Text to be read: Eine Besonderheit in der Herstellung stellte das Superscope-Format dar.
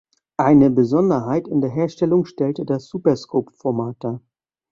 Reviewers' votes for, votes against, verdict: 2, 1, accepted